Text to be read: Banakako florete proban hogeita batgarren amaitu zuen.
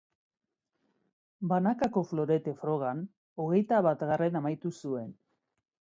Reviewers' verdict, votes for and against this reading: rejected, 0, 2